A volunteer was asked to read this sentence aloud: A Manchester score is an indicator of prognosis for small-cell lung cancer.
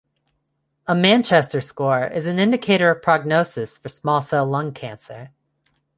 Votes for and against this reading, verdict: 0, 2, rejected